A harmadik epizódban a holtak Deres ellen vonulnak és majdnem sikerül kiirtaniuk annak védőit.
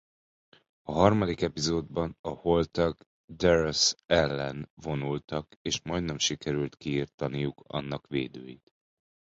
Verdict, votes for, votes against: rejected, 0, 2